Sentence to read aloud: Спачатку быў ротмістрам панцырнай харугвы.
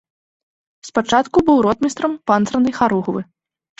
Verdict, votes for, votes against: accepted, 2, 0